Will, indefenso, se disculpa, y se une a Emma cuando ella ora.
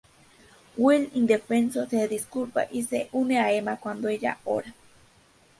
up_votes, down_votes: 4, 0